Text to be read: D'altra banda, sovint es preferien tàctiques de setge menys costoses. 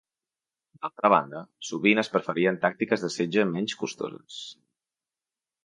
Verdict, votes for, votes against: accepted, 2, 0